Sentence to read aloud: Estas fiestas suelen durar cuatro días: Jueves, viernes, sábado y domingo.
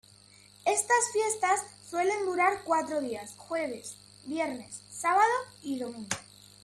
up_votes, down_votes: 2, 1